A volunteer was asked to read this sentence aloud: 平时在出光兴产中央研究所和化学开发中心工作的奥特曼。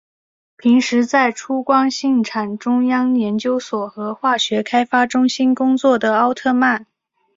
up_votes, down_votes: 4, 0